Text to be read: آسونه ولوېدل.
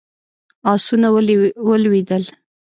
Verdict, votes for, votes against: rejected, 0, 2